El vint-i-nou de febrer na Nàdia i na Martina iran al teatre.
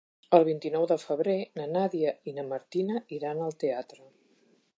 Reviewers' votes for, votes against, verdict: 3, 0, accepted